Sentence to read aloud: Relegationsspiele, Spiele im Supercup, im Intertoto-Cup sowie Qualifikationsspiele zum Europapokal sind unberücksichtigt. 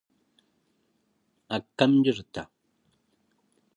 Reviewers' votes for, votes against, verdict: 0, 2, rejected